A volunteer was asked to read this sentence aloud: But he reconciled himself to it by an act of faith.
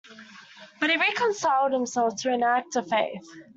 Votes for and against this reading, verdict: 1, 2, rejected